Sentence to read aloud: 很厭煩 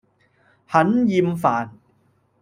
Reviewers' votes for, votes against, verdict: 2, 0, accepted